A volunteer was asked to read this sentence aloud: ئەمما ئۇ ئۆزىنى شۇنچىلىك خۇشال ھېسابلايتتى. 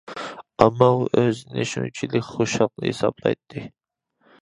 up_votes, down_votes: 0, 2